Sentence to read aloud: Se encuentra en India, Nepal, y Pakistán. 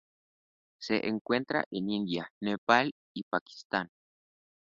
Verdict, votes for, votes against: accepted, 2, 0